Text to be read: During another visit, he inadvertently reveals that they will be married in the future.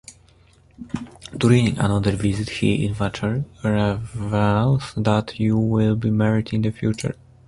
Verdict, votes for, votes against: rejected, 0, 2